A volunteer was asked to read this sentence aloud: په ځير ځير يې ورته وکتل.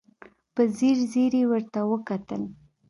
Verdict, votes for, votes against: accepted, 2, 0